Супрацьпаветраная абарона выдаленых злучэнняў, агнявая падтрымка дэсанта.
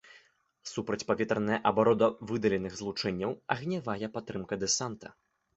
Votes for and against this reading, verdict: 0, 2, rejected